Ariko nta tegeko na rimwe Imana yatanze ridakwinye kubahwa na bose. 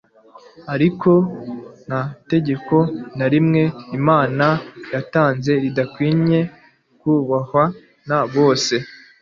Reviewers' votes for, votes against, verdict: 2, 0, accepted